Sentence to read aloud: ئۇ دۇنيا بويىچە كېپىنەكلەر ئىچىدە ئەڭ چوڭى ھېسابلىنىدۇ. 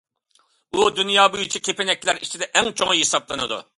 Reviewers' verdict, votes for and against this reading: accepted, 2, 0